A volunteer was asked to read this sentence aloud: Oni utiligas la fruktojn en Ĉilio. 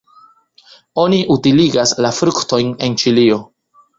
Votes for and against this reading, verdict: 3, 0, accepted